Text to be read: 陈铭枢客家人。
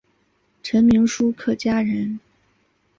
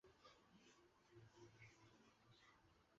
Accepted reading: first